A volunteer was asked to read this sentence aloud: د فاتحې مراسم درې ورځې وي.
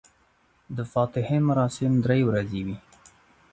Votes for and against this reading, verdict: 2, 0, accepted